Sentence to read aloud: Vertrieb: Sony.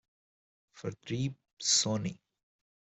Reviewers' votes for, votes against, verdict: 1, 2, rejected